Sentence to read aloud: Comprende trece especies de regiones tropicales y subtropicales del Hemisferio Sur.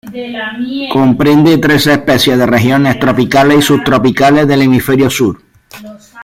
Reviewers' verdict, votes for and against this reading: accepted, 2, 0